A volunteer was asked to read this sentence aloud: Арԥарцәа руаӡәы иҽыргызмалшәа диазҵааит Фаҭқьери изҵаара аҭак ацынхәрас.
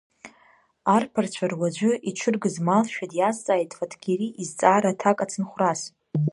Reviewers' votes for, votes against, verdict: 0, 2, rejected